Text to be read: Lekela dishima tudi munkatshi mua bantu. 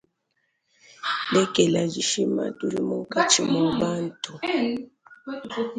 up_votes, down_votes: 1, 3